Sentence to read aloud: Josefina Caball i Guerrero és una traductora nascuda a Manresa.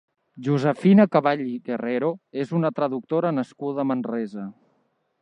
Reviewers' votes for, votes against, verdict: 3, 0, accepted